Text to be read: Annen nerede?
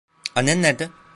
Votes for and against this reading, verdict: 0, 2, rejected